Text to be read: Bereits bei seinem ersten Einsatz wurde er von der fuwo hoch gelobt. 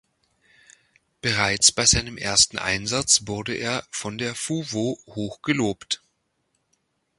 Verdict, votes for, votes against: accepted, 2, 0